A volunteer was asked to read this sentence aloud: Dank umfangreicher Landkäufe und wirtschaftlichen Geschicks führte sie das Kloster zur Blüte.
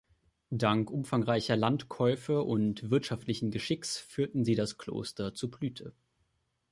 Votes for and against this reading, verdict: 0, 2, rejected